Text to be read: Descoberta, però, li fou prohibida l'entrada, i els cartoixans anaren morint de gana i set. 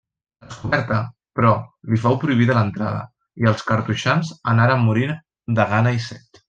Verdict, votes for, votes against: rejected, 0, 2